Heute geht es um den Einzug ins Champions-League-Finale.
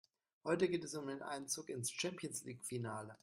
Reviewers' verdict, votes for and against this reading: accepted, 2, 0